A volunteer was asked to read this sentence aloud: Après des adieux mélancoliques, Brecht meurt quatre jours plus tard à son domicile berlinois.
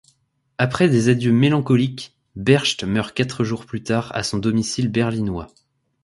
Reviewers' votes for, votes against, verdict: 1, 2, rejected